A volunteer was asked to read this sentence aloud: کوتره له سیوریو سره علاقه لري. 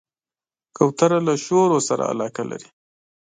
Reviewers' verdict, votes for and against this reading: rejected, 0, 2